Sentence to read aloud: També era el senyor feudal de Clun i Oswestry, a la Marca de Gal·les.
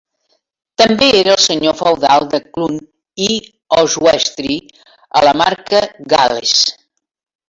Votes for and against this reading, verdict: 0, 2, rejected